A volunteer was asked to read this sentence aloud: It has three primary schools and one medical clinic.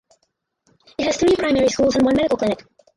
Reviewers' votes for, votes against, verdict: 2, 4, rejected